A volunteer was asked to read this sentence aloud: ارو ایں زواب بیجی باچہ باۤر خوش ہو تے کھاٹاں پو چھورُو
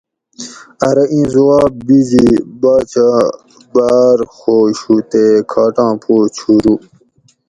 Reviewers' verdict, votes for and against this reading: accepted, 4, 0